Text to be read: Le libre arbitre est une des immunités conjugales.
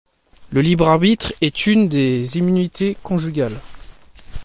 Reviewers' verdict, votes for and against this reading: accepted, 2, 0